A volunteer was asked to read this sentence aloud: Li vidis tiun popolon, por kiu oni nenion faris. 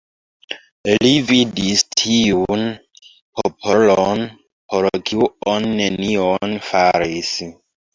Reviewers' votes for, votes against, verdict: 2, 1, accepted